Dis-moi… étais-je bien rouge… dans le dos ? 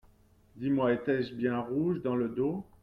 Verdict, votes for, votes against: accepted, 2, 0